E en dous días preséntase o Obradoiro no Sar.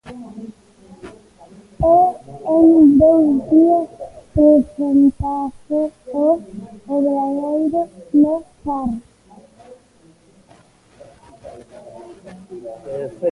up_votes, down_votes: 0, 2